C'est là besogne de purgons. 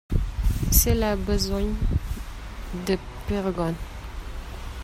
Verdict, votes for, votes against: accepted, 2, 0